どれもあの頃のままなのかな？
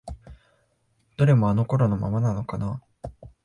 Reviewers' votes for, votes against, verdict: 2, 0, accepted